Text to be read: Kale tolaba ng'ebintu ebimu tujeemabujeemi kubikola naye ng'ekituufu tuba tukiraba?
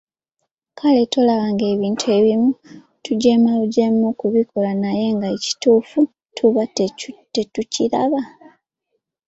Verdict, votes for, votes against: rejected, 0, 2